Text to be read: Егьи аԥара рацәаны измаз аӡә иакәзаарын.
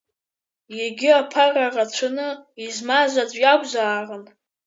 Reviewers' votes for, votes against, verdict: 1, 2, rejected